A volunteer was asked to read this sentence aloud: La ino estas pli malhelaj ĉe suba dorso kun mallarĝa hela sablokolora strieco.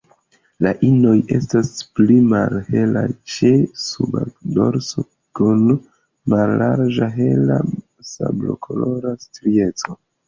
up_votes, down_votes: 1, 2